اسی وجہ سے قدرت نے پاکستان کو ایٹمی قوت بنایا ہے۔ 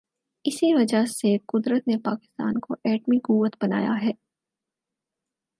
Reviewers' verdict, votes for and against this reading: accepted, 4, 0